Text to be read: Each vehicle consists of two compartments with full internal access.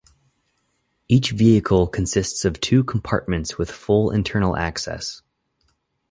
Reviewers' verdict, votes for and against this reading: accepted, 6, 0